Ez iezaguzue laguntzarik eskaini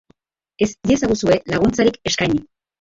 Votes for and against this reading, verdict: 2, 3, rejected